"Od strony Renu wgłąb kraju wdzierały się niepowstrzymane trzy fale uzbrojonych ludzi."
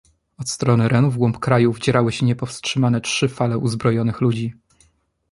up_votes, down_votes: 2, 0